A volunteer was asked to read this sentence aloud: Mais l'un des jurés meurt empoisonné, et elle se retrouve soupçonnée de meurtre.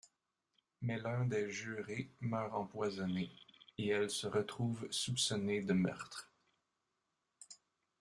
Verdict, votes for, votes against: rejected, 0, 2